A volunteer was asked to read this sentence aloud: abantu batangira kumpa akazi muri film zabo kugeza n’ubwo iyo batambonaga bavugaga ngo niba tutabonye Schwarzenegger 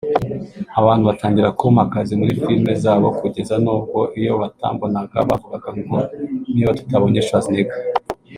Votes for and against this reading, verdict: 1, 2, rejected